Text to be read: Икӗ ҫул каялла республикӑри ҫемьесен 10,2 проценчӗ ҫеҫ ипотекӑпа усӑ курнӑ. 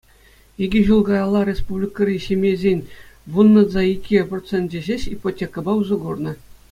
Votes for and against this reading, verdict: 0, 2, rejected